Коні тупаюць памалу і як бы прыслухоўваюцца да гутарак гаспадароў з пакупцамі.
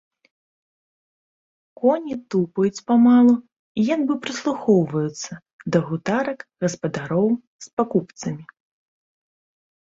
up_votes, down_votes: 1, 2